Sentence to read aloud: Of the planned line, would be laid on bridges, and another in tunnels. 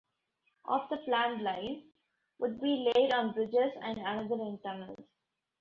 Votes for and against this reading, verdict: 2, 0, accepted